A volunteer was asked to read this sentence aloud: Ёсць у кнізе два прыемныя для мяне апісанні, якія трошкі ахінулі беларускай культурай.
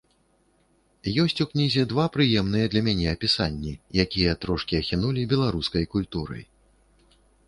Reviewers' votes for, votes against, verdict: 2, 0, accepted